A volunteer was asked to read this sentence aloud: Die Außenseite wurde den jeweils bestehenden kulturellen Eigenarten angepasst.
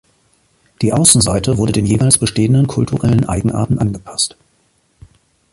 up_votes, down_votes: 2, 0